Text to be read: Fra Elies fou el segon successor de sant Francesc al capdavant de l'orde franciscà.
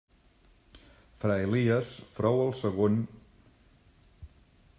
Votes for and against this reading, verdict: 0, 2, rejected